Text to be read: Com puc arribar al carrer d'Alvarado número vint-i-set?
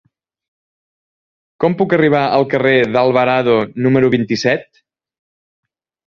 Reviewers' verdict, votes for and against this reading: accepted, 3, 0